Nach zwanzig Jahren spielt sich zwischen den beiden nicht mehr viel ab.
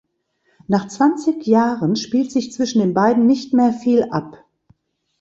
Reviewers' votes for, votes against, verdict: 2, 0, accepted